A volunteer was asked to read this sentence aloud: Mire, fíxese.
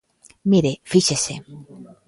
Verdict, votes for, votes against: accepted, 2, 0